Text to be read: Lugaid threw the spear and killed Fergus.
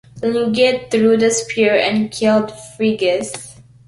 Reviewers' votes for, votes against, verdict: 0, 2, rejected